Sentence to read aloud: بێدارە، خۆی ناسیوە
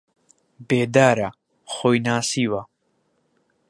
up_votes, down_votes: 2, 0